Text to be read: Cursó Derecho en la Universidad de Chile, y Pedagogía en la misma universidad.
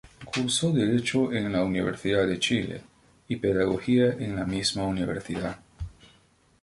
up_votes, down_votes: 2, 0